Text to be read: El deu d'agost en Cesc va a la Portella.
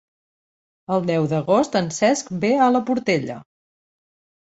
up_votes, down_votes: 0, 2